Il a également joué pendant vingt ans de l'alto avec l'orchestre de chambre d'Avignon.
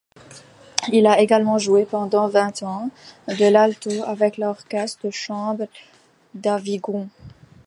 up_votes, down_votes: 0, 2